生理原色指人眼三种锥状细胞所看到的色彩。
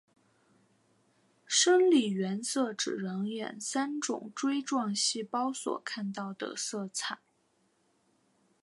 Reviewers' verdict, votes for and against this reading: accepted, 2, 0